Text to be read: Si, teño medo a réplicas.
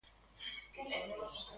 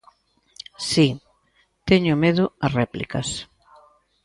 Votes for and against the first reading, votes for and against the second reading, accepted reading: 0, 2, 2, 0, second